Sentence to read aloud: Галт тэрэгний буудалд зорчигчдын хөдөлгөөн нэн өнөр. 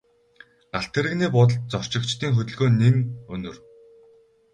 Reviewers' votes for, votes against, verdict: 6, 0, accepted